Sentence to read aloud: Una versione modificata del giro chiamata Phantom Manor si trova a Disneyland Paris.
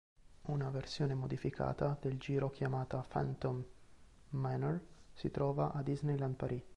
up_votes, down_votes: 0, 2